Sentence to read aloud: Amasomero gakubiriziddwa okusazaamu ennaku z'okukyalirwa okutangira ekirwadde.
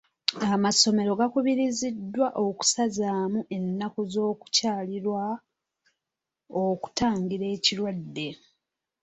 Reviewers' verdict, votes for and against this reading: accepted, 2, 0